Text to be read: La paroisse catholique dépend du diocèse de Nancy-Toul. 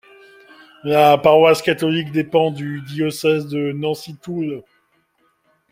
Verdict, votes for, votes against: accepted, 2, 0